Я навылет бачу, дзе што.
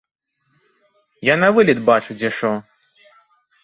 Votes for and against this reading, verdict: 0, 2, rejected